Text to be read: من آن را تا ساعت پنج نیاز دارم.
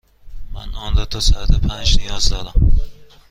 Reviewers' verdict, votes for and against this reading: accepted, 2, 0